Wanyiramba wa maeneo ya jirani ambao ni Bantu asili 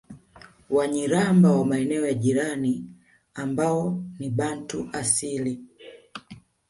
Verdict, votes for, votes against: rejected, 0, 2